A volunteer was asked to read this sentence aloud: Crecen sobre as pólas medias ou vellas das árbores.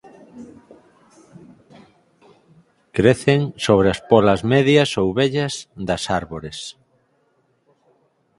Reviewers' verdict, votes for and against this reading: accepted, 4, 0